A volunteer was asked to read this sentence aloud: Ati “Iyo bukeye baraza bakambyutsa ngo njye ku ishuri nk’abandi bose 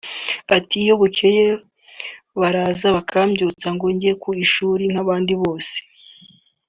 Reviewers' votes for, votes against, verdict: 3, 0, accepted